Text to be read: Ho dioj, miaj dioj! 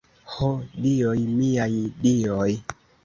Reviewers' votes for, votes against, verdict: 2, 0, accepted